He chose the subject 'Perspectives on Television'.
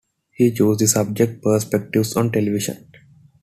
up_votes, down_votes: 2, 0